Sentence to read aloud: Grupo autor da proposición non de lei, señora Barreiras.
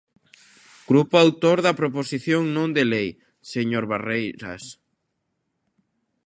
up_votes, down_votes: 0, 2